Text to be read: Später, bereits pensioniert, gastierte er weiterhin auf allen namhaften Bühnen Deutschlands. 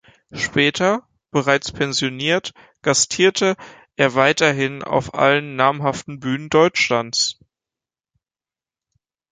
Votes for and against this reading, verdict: 2, 0, accepted